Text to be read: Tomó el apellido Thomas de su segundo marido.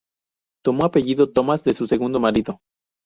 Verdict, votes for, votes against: rejected, 0, 2